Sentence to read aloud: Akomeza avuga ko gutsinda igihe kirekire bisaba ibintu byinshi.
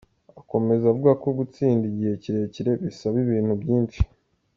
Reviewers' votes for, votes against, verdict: 2, 0, accepted